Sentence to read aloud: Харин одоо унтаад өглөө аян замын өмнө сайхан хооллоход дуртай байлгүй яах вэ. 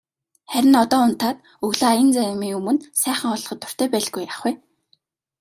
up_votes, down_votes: 0, 2